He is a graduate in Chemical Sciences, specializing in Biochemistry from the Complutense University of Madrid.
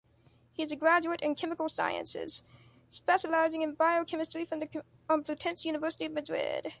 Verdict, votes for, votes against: accepted, 2, 0